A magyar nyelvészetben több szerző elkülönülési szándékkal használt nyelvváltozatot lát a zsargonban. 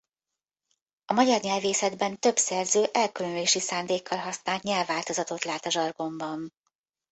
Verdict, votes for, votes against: rejected, 1, 2